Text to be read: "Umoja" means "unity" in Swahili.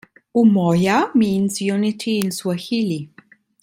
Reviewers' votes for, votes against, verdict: 2, 1, accepted